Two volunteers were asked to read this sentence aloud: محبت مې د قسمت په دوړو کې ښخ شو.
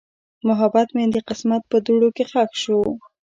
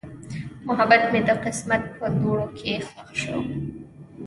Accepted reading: first